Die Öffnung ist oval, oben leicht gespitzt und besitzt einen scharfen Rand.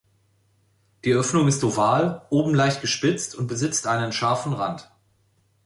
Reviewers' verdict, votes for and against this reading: accepted, 2, 0